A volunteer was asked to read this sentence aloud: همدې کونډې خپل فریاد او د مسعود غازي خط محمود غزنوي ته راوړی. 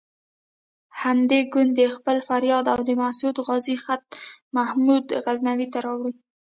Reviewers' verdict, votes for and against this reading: rejected, 0, 2